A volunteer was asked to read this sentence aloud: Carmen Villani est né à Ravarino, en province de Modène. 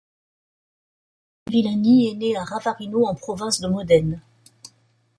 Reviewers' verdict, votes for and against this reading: rejected, 1, 2